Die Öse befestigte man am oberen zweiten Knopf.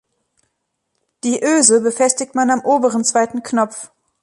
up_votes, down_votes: 2, 0